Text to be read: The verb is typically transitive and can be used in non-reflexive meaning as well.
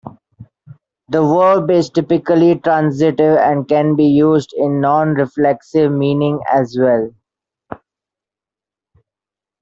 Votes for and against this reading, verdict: 2, 1, accepted